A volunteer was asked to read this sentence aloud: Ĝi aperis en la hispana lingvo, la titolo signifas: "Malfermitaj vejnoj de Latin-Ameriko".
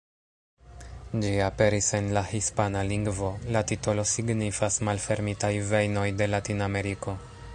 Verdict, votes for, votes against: rejected, 1, 2